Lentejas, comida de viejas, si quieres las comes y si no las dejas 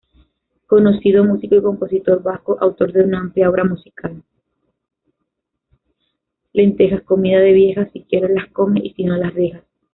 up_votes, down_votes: 0, 2